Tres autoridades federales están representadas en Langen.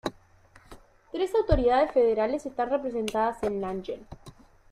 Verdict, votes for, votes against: accepted, 2, 0